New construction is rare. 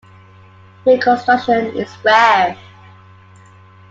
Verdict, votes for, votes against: accepted, 2, 1